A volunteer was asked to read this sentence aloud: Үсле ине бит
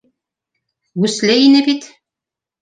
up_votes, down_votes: 3, 0